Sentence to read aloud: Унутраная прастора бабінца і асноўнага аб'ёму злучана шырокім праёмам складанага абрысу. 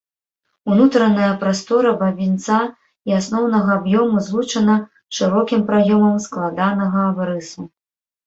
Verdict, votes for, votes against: rejected, 1, 2